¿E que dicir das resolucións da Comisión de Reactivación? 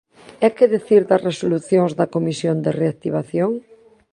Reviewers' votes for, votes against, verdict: 1, 2, rejected